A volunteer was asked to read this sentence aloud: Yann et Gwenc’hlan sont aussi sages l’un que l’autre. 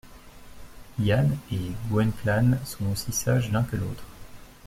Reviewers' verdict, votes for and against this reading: rejected, 1, 2